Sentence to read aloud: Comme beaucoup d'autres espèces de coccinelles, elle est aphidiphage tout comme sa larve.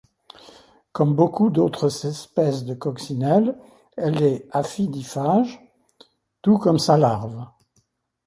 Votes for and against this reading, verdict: 1, 2, rejected